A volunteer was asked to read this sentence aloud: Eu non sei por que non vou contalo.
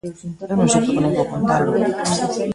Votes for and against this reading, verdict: 0, 2, rejected